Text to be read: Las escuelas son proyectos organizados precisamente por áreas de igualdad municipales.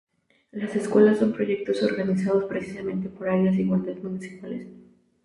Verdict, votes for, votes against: rejected, 0, 2